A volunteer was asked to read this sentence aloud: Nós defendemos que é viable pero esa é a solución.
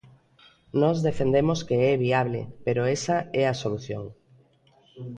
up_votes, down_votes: 0, 2